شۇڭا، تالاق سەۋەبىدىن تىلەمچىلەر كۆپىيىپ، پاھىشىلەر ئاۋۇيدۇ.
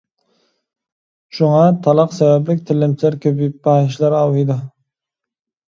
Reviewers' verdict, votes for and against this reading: rejected, 0, 2